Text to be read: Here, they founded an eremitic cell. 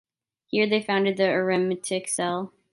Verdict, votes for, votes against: rejected, 1, 2